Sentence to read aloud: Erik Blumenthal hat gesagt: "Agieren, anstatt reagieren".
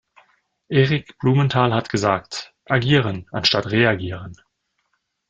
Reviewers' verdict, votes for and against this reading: accepted, 2, 0